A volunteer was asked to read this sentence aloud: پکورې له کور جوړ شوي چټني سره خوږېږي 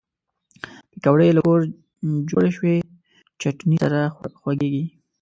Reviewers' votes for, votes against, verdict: 1, 2, rejected